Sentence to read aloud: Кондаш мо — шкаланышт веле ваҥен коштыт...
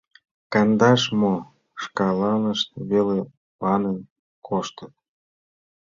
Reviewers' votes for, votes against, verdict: 2, 1, accepted